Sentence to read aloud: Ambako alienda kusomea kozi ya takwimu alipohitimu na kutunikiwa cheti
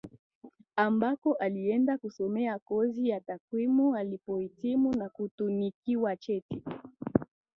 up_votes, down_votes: 3, 0